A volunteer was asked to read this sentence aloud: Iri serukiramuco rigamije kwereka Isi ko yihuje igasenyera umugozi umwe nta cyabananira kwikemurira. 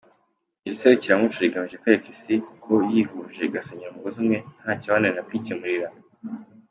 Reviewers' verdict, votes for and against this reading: accepted, 2, 0